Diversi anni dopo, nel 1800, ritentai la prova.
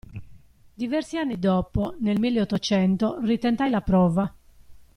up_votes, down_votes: 0, 2